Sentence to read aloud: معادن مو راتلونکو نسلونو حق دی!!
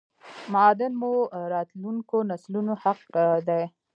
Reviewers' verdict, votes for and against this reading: rejected, 0, 2